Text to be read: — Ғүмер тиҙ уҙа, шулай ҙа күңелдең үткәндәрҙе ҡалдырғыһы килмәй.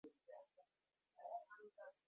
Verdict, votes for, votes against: rejected, 0, 2